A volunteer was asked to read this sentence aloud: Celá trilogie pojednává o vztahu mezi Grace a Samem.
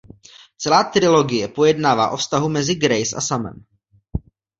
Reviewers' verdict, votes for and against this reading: accepted, 2, 0